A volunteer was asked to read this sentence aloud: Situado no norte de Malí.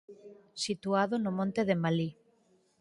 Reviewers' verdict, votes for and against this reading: rejected, 0, 6